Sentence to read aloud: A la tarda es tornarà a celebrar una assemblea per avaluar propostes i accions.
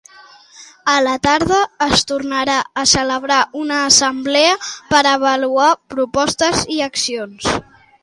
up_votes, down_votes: 2, 0